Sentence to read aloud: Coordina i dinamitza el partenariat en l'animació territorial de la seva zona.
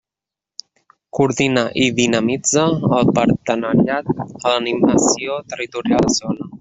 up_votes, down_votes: 0, 2